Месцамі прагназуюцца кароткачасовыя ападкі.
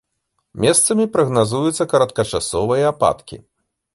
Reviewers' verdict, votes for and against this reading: accepted, 2, 0